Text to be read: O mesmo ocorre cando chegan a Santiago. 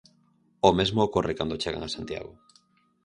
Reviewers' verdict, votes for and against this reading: accepted, 4, 0